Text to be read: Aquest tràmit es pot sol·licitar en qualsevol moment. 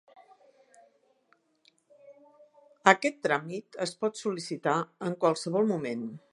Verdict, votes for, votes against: accepted, 3, 0